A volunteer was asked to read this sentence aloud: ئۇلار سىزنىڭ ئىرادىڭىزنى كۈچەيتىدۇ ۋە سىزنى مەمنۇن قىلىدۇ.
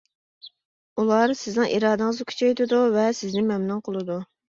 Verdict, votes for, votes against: accepted, 2, 0